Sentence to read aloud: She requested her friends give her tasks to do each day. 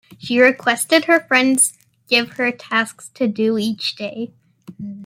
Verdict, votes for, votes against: rejected, 1, 2